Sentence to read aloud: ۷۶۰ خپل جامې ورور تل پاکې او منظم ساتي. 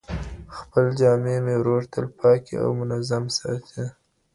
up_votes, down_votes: 0, 2